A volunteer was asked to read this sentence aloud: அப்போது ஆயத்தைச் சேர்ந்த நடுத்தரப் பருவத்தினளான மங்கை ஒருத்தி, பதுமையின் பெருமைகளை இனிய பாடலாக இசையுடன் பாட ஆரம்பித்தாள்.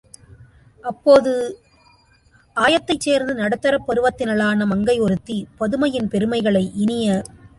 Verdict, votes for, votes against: rejected, 0, 2